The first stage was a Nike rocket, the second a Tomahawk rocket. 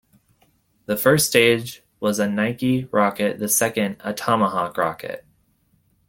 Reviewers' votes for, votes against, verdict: 2, 0, accepted